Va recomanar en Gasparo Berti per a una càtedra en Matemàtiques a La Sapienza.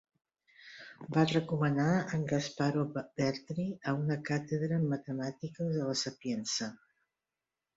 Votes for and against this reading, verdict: 1, 2, rejected